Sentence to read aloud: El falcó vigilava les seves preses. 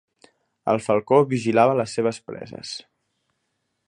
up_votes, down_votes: 3, 0